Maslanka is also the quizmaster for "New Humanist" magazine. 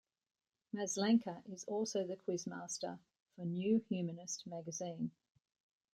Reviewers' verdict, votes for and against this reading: accepted, 2, 0